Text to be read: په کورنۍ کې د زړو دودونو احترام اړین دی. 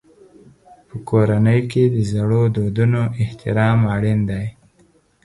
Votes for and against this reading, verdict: 0, 4, rejected